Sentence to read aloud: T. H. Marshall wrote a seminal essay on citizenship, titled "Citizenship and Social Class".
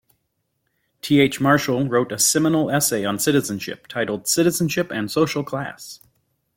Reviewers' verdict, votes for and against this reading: accepted, 2, 1